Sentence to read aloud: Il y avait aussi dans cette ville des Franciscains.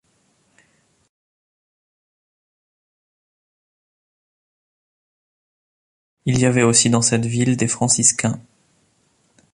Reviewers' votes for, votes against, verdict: 1, 2, rejected